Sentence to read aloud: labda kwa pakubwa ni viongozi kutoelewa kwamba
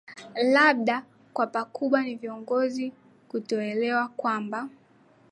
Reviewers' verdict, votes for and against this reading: accepted, 2, 0